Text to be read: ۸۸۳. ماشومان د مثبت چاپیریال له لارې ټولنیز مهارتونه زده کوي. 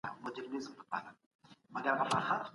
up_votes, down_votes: 0, 2